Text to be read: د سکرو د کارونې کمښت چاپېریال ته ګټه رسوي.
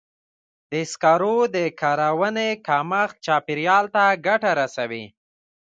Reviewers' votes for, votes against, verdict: 2, 1, accepted